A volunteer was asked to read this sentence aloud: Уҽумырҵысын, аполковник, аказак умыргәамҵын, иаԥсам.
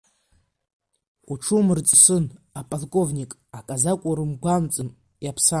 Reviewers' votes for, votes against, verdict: 1, 2, rejected